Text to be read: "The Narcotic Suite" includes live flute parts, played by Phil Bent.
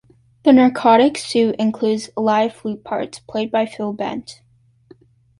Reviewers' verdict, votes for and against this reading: accepted, 2, 0